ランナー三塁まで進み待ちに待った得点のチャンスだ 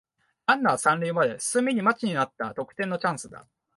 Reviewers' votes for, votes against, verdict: 3, 6, rejected